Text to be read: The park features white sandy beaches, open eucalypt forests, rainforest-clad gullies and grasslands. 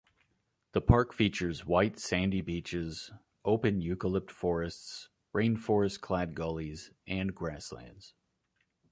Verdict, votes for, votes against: accepted, 2, 0